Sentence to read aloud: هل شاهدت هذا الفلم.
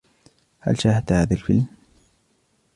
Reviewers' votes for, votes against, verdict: 2, 0, accepted